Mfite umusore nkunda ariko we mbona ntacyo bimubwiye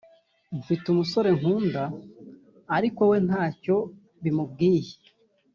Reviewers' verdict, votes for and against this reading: rejected, 1, 2